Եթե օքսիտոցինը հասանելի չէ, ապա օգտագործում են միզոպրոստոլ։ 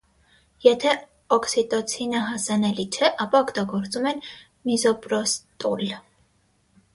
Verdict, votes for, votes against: rejected, 3, 3